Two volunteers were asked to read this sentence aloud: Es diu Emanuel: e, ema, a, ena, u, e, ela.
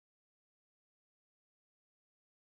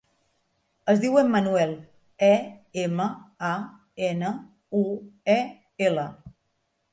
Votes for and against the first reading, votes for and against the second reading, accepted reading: 0, 2, 3, 0, second